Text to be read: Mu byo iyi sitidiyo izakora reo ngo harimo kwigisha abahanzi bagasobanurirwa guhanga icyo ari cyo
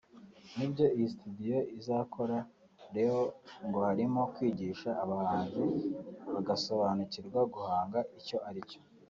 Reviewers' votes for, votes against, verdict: 1, 2, rejected